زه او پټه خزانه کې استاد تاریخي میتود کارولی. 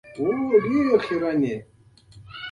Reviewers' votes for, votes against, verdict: 0, 2, rejected